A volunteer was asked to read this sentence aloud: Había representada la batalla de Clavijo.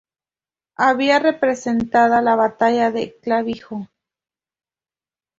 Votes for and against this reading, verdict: 2, 0, accepted